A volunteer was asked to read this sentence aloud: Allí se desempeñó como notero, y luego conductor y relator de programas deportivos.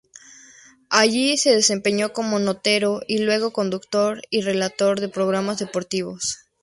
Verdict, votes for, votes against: accepted, 2, 0